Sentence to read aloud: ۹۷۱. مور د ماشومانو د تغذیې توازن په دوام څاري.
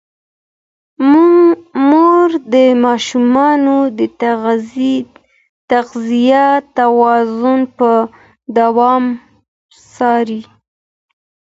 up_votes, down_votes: 0, 2